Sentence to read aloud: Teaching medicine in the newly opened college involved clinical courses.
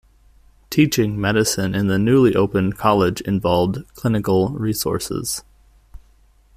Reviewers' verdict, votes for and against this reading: rejected, 0, 2